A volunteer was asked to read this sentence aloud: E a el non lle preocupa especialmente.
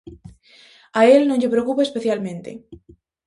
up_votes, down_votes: 0, 2